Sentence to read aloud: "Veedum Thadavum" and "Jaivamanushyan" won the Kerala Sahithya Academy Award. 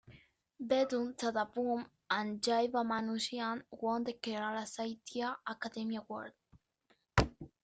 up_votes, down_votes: 2, 1